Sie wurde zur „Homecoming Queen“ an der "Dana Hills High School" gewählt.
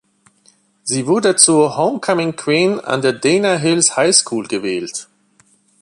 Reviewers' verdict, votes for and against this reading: accepted, 2, 0